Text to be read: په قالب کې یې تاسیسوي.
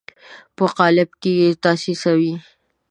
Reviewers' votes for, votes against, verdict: 2, 0, accepted